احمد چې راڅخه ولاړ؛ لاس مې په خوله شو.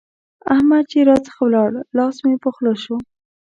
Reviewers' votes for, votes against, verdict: 2, 0, accepted